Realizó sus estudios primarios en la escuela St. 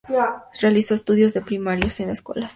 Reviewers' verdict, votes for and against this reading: accepted, 2, 0